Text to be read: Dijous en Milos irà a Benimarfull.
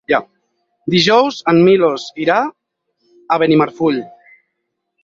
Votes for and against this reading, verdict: 2, 4, rejected